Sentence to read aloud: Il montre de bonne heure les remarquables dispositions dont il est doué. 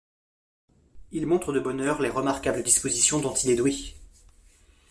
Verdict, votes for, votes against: accepted, 2, 0